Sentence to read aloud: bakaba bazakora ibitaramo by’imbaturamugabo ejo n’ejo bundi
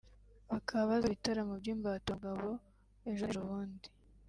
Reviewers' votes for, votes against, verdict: 2, 4, rejected